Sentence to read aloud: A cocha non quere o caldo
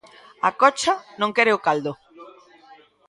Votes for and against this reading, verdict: 1, 2, rejected